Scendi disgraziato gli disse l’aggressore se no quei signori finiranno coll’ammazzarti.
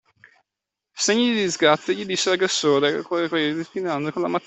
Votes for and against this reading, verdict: 0, 2, rejected